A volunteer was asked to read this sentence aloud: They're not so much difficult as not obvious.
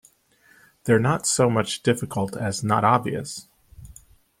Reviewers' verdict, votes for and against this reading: accepted, 2, 0